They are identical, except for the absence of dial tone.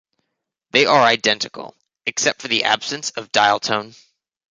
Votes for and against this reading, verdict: 2, 0, accepted